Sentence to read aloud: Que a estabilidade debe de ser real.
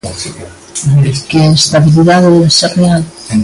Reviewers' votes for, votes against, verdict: 0, 3, rejected